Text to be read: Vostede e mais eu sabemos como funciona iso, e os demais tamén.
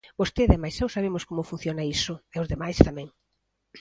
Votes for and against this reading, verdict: 2, 0, accepted